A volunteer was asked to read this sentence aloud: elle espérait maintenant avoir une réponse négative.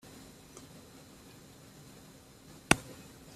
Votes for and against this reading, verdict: 0, 2, rejected